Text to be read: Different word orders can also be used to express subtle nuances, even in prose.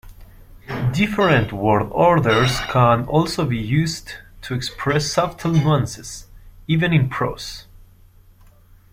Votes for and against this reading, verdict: 0, 2, rejected